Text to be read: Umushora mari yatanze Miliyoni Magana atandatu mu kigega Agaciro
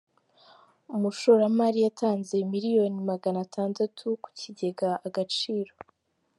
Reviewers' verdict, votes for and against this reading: accepted, 3, 0